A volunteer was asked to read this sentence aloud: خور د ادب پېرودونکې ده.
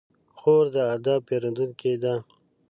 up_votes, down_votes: 2, 0